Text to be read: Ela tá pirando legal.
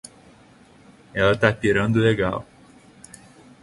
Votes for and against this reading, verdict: 2, 0, accepted